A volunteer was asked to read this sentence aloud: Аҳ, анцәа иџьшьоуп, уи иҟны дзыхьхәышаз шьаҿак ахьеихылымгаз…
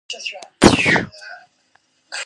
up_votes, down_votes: 0, 2